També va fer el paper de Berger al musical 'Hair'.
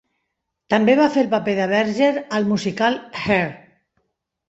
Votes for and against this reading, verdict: 3, 0, accepted